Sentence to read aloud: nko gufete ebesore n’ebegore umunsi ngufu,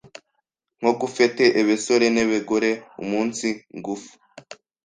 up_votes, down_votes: 1, 2